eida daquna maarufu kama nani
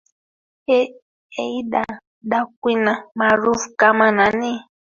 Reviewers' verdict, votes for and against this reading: accepted, 2, 1